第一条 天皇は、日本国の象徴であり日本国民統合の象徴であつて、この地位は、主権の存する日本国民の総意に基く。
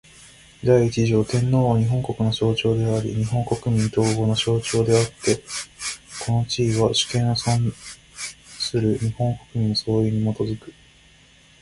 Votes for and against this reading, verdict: 0, 2, rejected